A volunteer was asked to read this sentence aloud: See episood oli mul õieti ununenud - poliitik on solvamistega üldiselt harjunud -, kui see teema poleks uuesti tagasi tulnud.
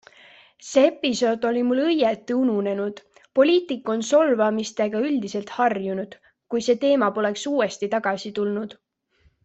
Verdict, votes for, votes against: accepted, 3, 0